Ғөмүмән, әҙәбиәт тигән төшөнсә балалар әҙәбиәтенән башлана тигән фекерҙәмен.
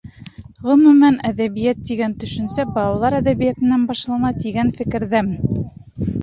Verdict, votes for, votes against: accepted, 3, 0